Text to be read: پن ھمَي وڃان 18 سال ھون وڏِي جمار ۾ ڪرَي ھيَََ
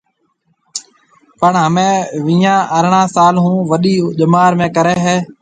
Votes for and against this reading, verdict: 0, 2, rejected